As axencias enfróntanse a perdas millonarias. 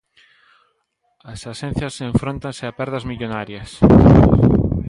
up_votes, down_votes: 1, 2